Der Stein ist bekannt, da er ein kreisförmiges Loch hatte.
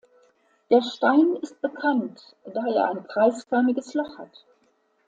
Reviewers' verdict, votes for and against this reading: rejected, 0, 2